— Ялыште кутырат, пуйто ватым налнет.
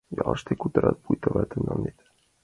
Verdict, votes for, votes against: rejected, 2, 4